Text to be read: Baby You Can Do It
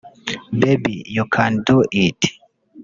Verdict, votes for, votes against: rejected, 0, 2